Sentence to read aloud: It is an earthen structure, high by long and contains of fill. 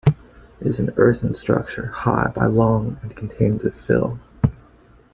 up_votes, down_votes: 2, 0